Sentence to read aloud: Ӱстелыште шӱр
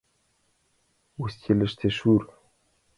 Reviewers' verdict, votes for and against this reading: rejected, 0, 2